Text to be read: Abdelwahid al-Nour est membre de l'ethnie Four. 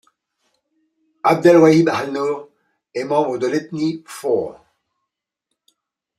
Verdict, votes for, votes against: accepted, 2, 0